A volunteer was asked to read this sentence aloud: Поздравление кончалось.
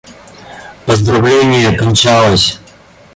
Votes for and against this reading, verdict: 0, 2, rejected